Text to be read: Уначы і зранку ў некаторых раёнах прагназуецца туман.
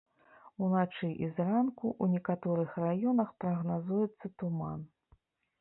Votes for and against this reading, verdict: 0, 2, rejected